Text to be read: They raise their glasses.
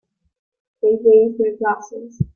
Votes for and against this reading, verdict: 2, 1, accepted